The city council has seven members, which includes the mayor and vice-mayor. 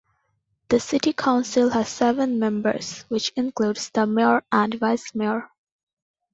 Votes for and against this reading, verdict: 2, 0, accepted